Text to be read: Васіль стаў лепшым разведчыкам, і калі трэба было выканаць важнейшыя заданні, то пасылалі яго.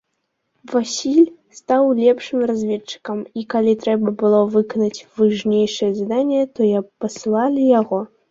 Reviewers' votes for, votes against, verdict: 0, 2, rejected